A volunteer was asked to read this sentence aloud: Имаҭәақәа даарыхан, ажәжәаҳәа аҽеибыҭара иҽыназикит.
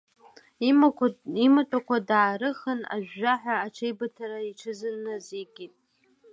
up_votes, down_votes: 1, 2